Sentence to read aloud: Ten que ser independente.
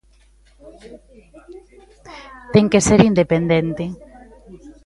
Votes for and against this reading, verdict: 1, 2, rejected